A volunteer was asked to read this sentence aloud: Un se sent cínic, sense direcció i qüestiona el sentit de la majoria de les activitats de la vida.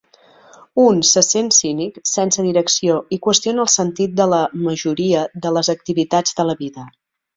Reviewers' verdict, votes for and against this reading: accepted, 3, 0